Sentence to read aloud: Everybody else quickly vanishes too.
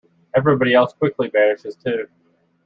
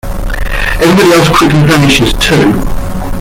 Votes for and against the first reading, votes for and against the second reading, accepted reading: 2, 0, 0, 2, first